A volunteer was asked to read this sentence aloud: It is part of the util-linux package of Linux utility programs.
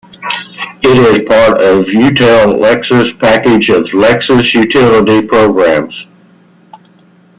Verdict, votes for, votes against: rejected, 0, 2